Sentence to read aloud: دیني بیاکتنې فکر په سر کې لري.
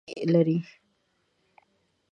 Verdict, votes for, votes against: rejected, 0, 2